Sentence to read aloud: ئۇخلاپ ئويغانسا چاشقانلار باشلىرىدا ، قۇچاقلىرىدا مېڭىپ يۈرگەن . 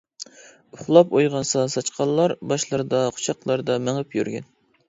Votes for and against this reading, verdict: 0, 2, rejected